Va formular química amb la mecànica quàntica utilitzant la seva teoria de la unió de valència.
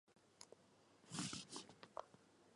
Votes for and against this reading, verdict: 0, 2, rejected